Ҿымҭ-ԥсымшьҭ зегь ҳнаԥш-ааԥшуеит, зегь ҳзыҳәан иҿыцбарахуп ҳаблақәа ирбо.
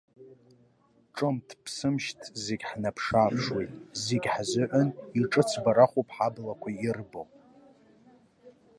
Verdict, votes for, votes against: rejected, 2, 3